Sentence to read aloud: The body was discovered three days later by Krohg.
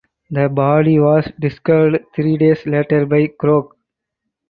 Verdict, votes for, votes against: accepted, 4, 0